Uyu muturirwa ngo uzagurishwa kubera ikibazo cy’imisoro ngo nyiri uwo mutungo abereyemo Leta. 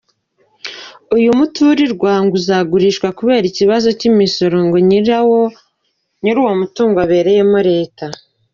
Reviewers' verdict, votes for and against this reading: rejected, 0, 2